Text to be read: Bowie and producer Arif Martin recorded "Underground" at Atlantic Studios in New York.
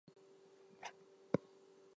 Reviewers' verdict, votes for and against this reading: rejected, 0, 2